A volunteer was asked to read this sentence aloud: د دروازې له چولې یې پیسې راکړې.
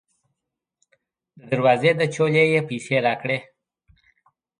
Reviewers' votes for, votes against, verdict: 2, 0, accepted